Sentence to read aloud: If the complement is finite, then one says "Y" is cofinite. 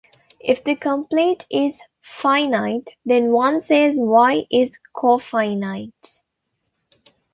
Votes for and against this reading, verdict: 0, 2, rejected